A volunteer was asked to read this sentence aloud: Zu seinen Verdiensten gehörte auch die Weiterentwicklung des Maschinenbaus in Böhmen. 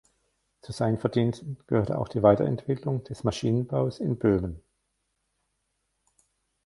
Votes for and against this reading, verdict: 1, 2, rejected